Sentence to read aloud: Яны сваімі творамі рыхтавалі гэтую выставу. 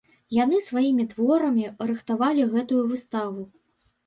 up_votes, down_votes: 2, 0